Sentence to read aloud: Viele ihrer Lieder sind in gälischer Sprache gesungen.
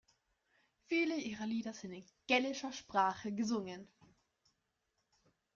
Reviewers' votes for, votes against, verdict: 0, 2, rejected